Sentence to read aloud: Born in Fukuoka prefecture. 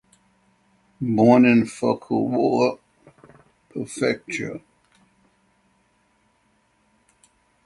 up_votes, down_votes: 3, 3